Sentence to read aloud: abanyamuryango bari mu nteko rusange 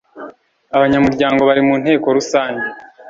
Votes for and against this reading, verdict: 2, 0, accepted